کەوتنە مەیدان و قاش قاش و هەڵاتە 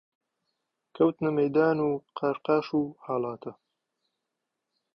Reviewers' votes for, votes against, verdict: 2, 0, accepted